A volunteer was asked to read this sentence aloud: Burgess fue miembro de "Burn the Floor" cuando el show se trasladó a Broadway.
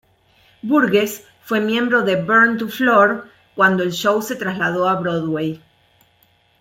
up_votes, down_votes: 1, 2